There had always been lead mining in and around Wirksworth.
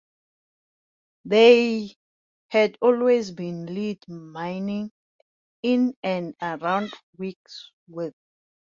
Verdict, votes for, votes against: rejected, 0, 2